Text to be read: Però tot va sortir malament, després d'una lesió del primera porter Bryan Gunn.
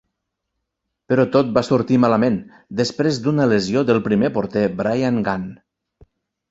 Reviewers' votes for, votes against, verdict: 1, 2, rejected